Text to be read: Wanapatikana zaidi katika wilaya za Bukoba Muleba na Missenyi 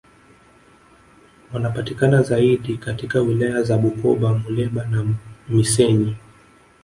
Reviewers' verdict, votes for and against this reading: rejected, 1, 2